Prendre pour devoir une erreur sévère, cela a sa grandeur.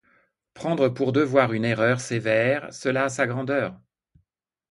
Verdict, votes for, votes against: accepted, 2, 0